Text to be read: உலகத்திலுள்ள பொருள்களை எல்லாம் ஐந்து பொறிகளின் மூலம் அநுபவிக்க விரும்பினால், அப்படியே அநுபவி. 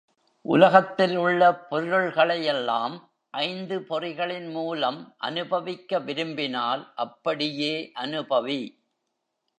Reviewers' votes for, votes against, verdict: 1, 2, rejected